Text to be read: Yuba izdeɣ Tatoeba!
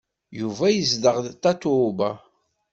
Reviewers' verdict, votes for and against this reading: rejected, 0, 2